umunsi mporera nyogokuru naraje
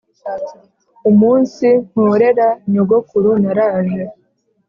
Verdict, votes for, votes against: accepted, 2, 0